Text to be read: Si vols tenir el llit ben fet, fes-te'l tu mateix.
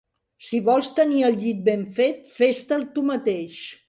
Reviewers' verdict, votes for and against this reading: accepted, 3, 0